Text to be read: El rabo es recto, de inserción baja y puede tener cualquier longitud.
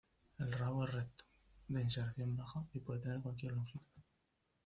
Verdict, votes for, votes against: rejected, 1, 2